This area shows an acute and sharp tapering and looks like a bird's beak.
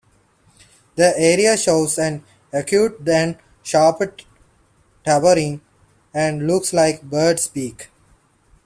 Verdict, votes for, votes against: rejected, 0, 2